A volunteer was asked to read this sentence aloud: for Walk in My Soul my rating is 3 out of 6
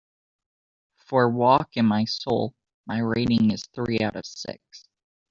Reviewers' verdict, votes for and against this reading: rejected, 0, 2